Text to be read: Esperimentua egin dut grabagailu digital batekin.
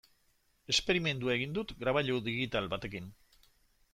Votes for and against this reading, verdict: 1, 2, rejected